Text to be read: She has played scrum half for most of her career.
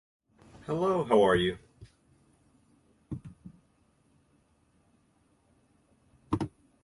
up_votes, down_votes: 0, 2